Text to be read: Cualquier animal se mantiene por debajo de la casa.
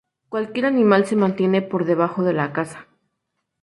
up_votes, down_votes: 2, 0